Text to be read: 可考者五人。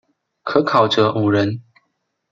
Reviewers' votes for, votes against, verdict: 2, 1, accepted